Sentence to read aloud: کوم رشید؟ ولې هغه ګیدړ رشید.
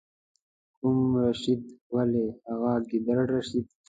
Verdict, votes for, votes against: rejected, 0, 2